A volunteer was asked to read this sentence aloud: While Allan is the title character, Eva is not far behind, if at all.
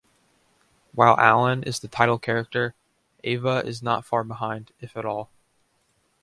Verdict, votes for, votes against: accepted, 2, 0